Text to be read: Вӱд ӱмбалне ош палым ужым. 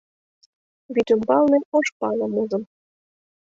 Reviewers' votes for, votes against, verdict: 2, 0, accepted